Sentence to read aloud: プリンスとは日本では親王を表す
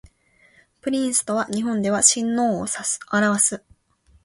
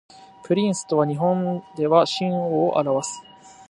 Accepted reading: second